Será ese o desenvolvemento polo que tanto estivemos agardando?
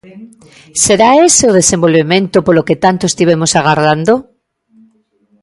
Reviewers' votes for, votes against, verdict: 1, 2, rejected